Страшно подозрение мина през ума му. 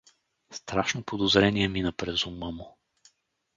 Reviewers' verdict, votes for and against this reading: accepted, 2, 0